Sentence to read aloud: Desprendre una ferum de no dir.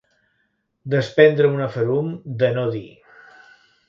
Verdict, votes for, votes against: rejected, 1, 2